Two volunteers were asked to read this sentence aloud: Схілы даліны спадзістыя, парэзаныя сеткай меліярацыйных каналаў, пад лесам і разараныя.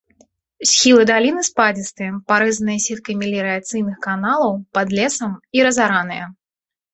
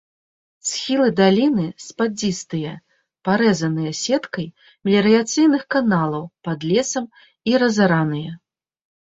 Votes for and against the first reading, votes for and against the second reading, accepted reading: 2, 0, 0, 3, first